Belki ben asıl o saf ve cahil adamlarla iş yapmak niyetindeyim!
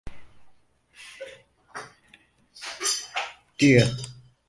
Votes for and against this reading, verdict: 0, 4, rejected